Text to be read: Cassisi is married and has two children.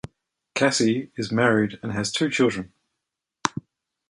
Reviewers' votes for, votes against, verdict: 1, 3, rejected